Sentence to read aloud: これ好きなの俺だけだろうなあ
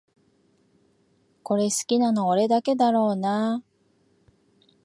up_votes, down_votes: 2, 0